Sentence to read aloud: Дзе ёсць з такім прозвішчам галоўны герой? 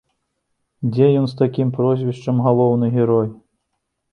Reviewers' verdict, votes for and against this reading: rejected, 0, 2